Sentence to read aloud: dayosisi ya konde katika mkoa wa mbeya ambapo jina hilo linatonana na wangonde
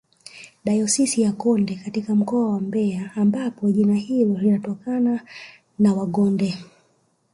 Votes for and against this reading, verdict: 1, 2, rejected